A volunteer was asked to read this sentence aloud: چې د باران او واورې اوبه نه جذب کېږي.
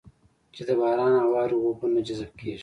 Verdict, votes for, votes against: rejected, 1, 2